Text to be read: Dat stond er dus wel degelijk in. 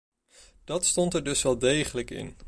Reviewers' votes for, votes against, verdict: 2, 0, accepted